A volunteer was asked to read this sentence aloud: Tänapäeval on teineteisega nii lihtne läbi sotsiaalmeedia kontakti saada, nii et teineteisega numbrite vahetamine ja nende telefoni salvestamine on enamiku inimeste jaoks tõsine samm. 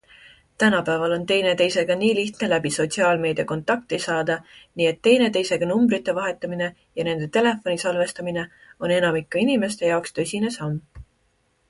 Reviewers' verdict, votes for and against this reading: accepted, 2, 0